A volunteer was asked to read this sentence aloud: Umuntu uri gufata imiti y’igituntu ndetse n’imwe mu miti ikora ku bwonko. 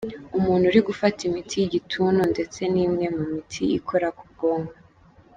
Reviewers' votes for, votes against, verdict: 1, 2, rejected